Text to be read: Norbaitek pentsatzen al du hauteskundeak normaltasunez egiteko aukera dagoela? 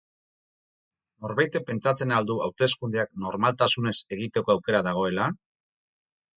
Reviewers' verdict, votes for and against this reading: accepted, 4, 0